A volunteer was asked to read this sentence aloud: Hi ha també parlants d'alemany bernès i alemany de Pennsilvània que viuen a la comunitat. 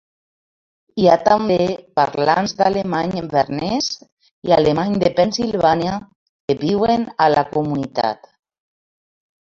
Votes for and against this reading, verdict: 0, 2, rejected